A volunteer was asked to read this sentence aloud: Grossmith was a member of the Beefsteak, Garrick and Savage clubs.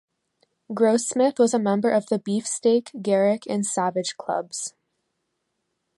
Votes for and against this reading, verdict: 2, 1, accepted